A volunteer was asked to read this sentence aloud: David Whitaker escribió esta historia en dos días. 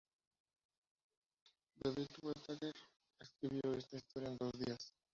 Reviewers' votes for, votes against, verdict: 0, 2, rejected